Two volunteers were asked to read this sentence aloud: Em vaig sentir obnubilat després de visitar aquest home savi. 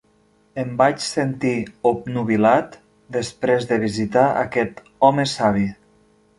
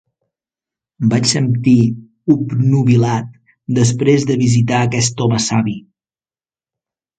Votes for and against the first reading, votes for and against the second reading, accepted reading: 3, 0, 1, 3, first